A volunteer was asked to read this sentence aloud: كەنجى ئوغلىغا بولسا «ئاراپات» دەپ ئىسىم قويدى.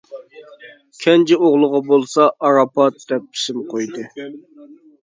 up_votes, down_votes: 2, 0